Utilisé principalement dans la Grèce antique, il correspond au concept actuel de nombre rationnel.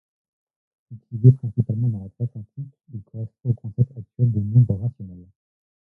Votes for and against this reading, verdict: 0, 2, rejected